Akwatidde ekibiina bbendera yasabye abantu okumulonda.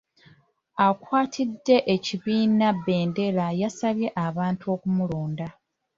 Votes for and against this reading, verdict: 2, 0, accepted